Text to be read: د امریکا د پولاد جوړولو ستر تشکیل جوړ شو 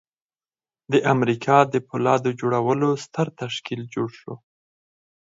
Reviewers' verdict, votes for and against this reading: accepted, 4, 0